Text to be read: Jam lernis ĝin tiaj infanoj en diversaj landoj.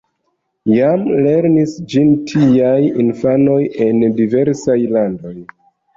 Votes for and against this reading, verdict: 0, 2, rejected